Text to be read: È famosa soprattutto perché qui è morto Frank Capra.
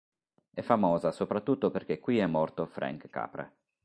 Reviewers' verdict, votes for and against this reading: accepted, 2, 0